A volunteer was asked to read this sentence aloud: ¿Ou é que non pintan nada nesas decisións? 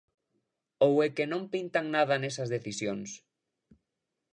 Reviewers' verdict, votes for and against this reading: accepted, 2, 0